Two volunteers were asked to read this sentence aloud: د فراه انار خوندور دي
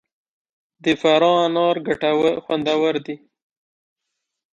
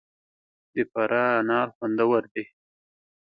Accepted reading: second